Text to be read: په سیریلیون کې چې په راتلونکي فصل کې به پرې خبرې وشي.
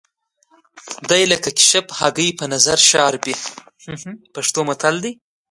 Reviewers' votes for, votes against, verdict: 0, 2, rejected